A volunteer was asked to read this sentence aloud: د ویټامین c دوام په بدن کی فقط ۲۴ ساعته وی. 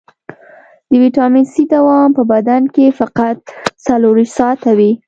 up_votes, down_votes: 0, 2